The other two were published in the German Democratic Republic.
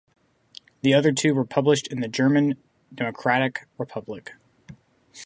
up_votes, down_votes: 6, 0